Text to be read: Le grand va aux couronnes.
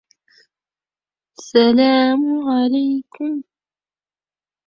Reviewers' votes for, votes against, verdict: 0, 2, rejected